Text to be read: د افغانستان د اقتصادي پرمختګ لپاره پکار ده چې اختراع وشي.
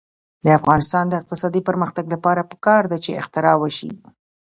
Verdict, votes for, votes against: accepted, 2, 0